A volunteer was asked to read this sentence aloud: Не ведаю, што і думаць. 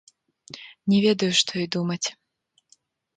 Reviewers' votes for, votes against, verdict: 0, 2, rejected